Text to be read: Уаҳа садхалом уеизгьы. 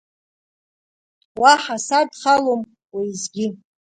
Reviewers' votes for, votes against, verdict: 0, 2, rejected